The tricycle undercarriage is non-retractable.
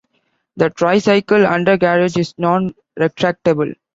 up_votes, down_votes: 0, 2